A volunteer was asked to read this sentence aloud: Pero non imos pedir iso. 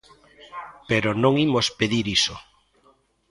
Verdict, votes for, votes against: accepted, 2, 0